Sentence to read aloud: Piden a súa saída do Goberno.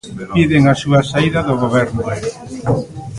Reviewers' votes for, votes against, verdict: 0, 2, rejected